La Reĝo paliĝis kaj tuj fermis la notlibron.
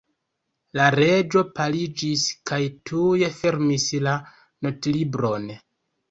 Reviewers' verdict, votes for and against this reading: accepted, 2, 1